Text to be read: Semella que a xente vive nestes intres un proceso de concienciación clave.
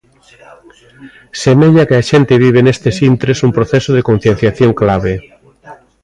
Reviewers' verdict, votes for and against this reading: rejected, 1, 2